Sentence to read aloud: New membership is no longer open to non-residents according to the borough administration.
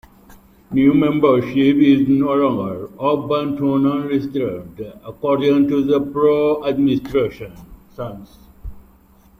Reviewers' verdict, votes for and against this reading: rejected, 0, 2